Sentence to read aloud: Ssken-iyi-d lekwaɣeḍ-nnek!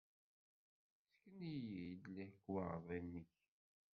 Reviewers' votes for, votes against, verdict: 1, 2, rejected